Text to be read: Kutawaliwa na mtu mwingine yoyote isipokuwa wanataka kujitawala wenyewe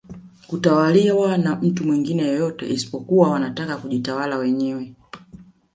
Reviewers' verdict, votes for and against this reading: accepted, 2, 0